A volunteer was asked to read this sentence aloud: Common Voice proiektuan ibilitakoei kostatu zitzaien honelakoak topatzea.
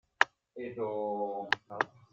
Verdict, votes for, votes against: rejected, 0, 2